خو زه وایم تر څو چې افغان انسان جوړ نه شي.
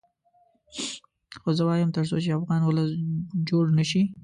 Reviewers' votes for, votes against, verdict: 0, 2, rejected